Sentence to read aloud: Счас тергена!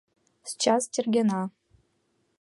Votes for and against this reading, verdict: 2, 0, accepted